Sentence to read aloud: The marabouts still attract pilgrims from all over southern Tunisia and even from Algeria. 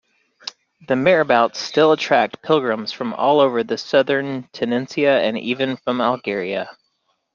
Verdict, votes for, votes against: rejected, 0, 2